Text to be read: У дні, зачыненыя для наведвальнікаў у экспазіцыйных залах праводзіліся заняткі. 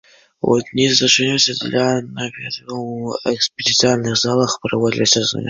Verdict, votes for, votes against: rejected, 0, 2